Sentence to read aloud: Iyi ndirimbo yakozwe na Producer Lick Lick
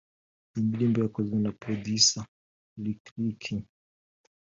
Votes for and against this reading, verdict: 2, 0, accepted